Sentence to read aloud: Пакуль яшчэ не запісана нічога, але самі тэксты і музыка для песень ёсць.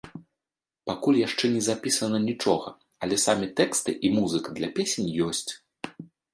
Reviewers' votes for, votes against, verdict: 2, 0, accepted